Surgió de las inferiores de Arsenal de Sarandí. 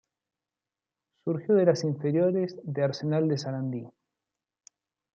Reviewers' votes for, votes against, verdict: 2, 0, accepted